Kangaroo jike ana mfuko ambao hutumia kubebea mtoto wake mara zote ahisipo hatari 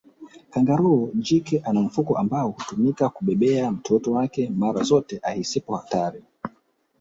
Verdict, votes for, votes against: rejected, 1, 3